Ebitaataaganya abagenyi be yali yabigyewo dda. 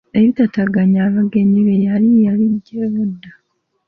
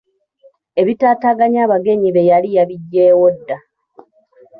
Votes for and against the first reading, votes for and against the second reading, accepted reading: 1, 2, 2, 1, second